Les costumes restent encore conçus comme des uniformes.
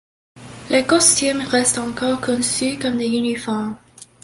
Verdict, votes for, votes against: accepted, 2, 1